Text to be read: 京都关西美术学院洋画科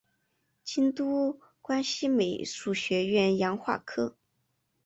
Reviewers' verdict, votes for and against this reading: accepted, 2, 0